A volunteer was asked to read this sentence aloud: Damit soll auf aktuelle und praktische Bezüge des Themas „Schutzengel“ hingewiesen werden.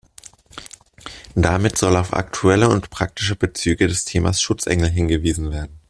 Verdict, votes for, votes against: accepted, 2, 0